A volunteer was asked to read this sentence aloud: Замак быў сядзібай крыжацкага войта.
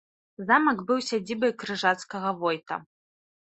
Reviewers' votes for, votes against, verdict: 2, 0, accepted